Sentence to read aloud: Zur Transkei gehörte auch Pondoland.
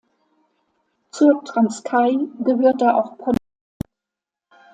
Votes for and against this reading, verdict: 0, 2, rejected